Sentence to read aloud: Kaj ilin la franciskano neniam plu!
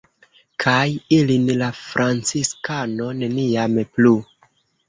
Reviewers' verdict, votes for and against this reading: accepted, 2, 0